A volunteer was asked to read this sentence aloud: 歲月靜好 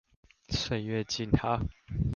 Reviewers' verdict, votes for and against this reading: rejected, 1, 2